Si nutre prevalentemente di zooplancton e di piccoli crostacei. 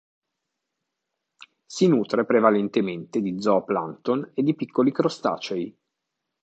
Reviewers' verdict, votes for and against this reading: accepted, 2, 0